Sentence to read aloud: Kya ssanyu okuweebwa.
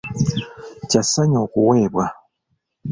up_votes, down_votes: 0, 2